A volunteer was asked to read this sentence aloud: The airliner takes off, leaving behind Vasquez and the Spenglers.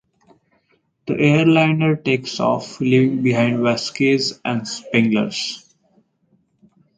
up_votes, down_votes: 0, 2